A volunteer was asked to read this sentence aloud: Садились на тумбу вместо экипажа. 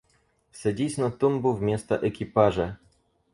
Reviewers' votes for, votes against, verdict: 0, 4, rejected